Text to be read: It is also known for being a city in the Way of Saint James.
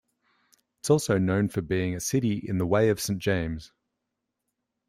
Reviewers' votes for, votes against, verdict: 1, 2, rejected